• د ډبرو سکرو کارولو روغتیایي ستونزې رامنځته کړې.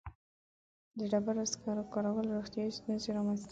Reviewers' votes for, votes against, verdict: 0, 2, rejected